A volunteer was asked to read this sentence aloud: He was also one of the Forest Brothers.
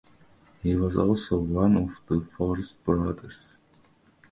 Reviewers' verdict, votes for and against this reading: accepted, 2, 0